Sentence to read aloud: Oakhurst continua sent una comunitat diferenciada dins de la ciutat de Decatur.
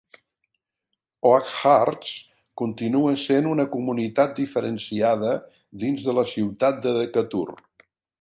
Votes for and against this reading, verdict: 2, 0, accepted